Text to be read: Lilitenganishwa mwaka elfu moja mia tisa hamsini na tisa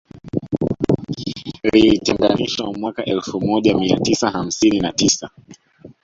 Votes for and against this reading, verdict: 2, 3, rejected